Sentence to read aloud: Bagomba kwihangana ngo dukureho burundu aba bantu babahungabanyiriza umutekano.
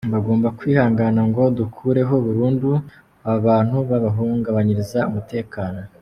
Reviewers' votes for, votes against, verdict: 2, 0, accepted